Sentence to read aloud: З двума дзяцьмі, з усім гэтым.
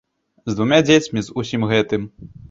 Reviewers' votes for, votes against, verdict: 0, 2, rejected